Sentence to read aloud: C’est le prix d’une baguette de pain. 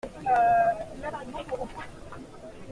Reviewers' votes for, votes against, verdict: 0, 2, rejected